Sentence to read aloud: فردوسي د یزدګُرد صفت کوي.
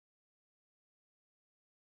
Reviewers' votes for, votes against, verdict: 0, 2, rejected